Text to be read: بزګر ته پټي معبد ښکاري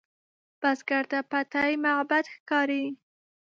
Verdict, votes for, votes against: rejected, 0, 2